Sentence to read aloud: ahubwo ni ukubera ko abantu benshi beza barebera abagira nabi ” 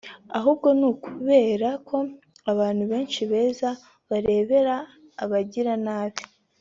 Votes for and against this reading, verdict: 3, 0, accepted